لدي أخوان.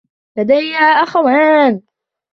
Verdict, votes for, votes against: rejected, 0, 2